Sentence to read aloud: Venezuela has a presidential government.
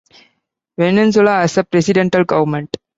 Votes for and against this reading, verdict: 0, 2, rejected